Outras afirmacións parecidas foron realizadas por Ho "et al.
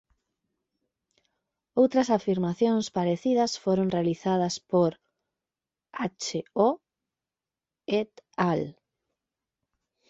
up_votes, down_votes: 1, 2